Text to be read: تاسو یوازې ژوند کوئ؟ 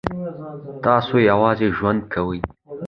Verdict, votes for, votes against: accepted, 2, 0